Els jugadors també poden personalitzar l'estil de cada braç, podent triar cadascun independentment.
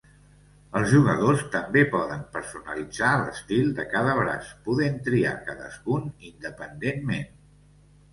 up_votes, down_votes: 2, 0